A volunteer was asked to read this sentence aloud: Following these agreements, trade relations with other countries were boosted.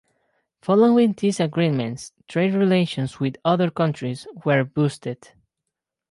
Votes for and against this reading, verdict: 4, 0, accepted